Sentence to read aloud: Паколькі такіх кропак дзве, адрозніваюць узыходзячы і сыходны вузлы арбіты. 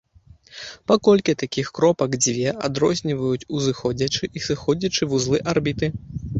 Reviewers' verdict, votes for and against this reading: rejected, 0, 2